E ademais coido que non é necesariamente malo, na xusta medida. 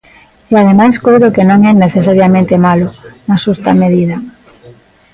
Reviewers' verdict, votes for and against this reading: rejected, 1, 2